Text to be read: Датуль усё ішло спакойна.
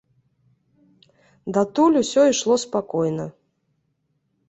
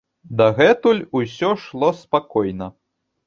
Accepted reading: first